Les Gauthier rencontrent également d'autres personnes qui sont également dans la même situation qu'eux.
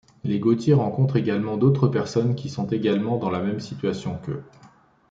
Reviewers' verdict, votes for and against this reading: accepted, 2, 0